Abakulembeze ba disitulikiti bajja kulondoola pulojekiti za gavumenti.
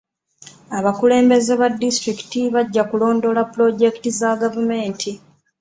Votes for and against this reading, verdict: 1, 2, rejected